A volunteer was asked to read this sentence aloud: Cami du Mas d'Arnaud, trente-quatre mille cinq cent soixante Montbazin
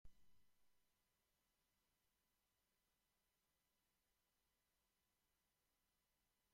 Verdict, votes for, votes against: rejected, 0, 2